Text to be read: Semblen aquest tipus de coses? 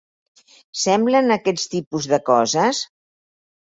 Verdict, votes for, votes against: accepted, 4, 2